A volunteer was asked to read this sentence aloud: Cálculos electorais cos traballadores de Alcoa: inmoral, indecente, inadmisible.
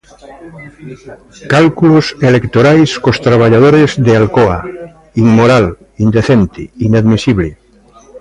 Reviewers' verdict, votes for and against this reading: rejected, 0, 2